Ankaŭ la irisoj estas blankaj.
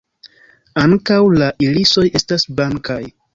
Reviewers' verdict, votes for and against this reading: accepted, 2, 0